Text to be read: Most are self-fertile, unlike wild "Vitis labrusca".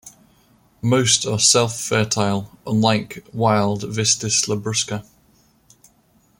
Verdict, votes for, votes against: rejected, 1, 2